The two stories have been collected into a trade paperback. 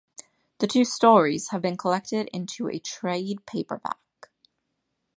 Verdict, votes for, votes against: accepted, 2, 0